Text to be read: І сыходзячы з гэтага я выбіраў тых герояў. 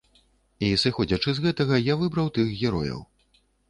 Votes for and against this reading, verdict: 1, 2, rejected